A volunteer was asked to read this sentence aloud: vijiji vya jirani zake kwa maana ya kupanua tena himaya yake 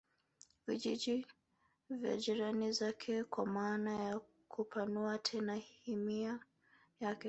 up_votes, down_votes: 0, 2